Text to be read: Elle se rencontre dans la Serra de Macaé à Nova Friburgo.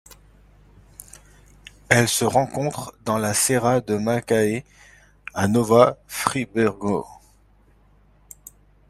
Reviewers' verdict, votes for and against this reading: rejected, 1, 2